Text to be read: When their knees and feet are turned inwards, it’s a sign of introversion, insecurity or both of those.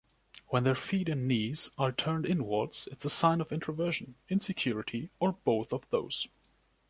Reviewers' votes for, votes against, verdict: 0, 2, rejected